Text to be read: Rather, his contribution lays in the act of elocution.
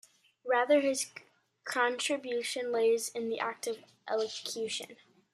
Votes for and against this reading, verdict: 2, 1, accepted